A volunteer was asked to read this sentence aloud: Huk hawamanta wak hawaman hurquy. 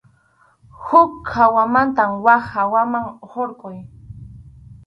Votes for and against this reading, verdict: 4, 0, accepted